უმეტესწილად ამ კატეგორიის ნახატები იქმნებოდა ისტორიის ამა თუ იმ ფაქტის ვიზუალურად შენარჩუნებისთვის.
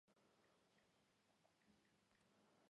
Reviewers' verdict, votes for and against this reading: rejected, 0, 2